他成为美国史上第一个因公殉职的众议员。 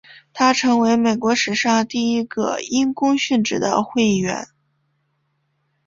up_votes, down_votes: 1, 2